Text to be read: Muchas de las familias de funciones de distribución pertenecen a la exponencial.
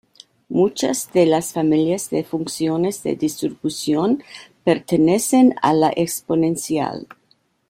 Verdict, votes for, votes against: accepted, 2, 0